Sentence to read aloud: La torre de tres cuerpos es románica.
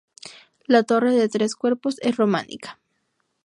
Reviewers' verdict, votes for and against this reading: accepted, 4, 0